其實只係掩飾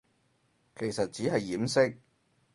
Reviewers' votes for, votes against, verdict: 4, 0, accepted